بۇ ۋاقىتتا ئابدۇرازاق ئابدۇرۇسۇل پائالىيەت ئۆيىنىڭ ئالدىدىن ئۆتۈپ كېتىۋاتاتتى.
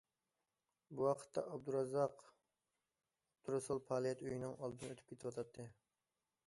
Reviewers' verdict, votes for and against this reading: rejected, 0, 2